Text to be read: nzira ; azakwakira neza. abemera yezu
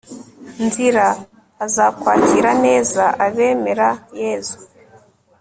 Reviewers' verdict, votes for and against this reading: accepted, 3, 0